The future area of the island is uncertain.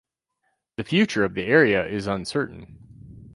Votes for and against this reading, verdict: 0, 4, rejected